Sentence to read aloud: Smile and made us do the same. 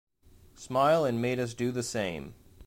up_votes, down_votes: 2, 0